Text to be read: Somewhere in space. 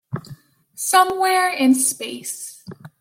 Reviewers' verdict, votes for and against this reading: accepted, 2, 0